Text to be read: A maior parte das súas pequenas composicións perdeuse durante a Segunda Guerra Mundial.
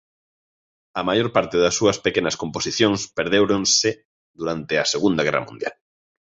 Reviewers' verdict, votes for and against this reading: rejected, 0, 2